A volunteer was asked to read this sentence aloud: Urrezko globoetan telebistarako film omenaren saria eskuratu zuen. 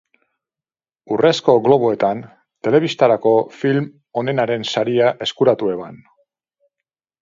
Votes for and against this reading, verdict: 0, 4, rejected